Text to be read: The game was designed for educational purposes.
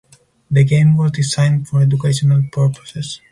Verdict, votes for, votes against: rejected, 0, 2